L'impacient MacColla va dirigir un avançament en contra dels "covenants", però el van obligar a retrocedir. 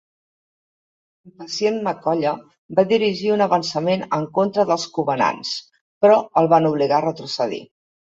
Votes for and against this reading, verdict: 1, 2, rejected